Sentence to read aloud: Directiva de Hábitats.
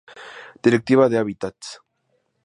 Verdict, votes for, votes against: accepted, 2, 0